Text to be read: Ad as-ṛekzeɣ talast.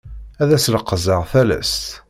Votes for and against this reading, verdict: 1, 2, rejected